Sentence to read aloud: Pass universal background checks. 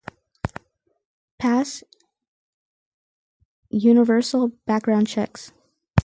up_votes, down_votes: 4, 0